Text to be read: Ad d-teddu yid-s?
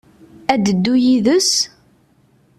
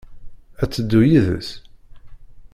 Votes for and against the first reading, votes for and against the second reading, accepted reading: 2, 0, 1, 2, first